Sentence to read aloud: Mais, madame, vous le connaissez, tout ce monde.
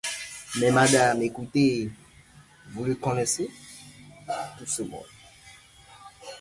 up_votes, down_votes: 1, 2